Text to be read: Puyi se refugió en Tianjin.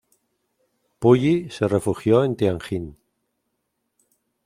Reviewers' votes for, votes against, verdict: 2, 0, accepted